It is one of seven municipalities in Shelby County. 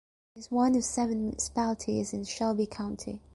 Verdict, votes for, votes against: rejected, 0, 2